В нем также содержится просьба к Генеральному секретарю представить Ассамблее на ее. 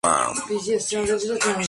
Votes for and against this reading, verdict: 0, 2, rejected